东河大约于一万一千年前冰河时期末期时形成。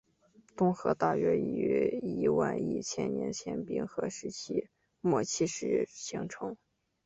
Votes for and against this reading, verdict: 0, 2, rejected